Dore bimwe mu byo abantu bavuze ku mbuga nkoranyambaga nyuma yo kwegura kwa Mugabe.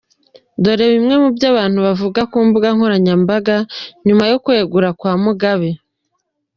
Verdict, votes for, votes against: rejected, 0, 2